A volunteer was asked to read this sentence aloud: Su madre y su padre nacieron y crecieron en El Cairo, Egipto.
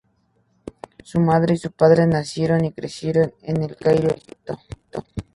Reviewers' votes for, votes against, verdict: 2, 2, rejected